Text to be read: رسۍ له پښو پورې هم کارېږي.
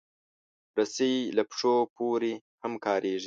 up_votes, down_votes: 3, 0